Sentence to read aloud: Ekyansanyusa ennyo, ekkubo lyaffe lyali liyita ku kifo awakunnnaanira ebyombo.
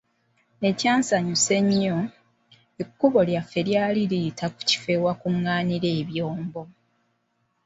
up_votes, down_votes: 4, 0